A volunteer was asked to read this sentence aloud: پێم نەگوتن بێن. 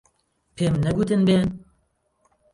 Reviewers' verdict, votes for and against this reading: accepted, 2, 0